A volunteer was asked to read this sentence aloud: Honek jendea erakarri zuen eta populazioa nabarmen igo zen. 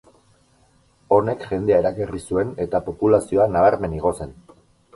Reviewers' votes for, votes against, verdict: 2, 2, rejected